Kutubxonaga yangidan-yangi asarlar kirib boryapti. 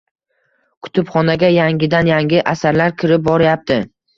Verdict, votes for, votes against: accepted, 2, 0